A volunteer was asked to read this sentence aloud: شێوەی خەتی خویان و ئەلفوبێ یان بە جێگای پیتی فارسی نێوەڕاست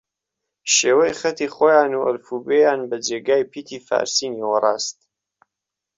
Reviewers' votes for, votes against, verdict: 1, 2, rejected